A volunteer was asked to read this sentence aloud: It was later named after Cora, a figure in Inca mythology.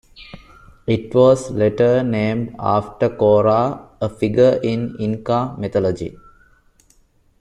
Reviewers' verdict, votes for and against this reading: accepted, 2, 0